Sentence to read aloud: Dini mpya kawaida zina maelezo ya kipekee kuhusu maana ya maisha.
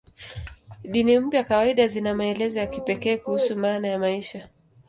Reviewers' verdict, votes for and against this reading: rejected, 5, 5